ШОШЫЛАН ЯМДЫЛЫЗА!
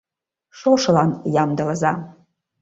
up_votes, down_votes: 3, 0